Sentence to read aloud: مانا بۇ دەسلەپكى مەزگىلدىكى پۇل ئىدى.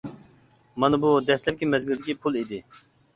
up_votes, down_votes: 2, 0